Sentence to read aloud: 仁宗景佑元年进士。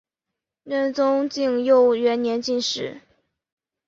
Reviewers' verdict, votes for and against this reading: accepted, 2, 0